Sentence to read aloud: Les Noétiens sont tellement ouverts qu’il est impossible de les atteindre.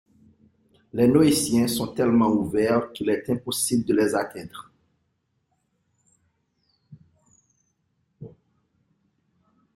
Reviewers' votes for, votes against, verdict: 2, 0, accepted